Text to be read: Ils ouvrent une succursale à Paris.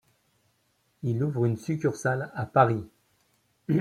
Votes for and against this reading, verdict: 2, 1, accepted